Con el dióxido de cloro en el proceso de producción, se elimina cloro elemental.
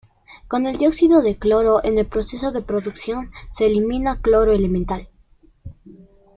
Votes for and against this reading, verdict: 2, 0, accepted